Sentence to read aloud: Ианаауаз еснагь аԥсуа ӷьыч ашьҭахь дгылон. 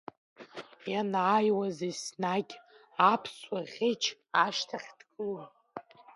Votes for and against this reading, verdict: 0, 2, rejected